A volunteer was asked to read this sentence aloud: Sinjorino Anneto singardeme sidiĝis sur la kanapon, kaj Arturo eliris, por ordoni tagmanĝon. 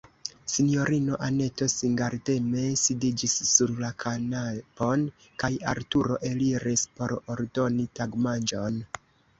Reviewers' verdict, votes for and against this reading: rejected, 2, 3